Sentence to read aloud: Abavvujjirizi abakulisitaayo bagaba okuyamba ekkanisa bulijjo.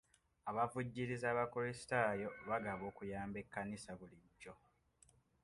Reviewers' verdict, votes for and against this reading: accepted, 2, 0